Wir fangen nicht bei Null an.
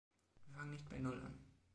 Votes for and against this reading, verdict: 2, 4, rejected